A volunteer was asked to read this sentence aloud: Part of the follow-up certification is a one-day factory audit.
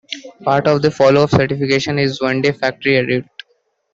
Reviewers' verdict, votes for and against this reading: rejected, 0, 2